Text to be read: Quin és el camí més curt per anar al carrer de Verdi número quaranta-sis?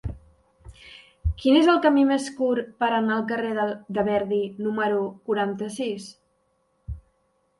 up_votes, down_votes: 0, 2